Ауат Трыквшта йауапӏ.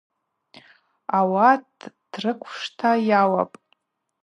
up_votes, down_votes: 2, 0